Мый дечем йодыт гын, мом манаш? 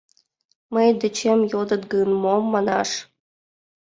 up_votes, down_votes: 2, 0